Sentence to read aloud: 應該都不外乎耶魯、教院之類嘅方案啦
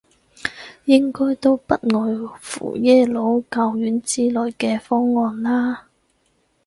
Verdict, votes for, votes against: accepted, 4, 0